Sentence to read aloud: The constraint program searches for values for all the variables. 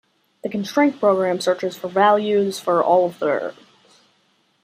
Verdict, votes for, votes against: rejected, 0, 2